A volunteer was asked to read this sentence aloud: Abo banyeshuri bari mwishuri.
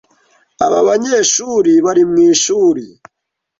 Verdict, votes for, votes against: rejected, 1, 2